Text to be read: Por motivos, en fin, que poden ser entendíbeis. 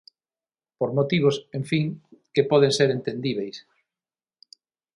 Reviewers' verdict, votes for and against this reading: accepted, 6, 0